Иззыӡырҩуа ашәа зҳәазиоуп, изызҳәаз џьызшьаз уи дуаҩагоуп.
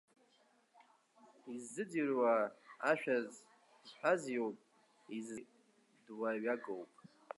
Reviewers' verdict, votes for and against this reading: rejected, 2, 6